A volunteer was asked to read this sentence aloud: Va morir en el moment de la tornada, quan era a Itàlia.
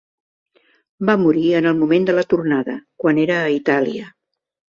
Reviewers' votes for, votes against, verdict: 3, 0, accepted